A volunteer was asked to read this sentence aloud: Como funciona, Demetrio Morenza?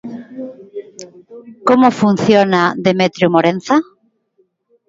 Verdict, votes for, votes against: rejected, 1, 2